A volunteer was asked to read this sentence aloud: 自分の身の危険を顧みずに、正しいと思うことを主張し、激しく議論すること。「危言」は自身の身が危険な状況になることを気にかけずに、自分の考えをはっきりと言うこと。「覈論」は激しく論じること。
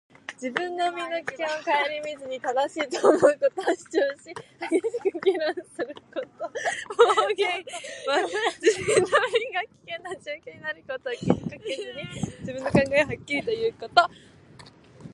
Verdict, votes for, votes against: rejected, 0, 2